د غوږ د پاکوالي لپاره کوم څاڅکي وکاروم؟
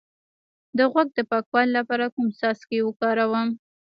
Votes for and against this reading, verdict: 1, 2, rejected